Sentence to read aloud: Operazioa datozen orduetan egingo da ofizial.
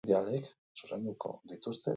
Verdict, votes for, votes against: rejected, 0, 4